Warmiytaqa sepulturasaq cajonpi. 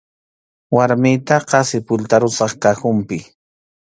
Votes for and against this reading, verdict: 1, 2, rejected